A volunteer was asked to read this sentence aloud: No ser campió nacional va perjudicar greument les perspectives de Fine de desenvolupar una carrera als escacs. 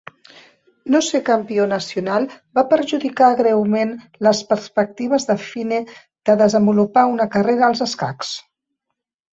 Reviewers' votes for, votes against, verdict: 3, 0, accepted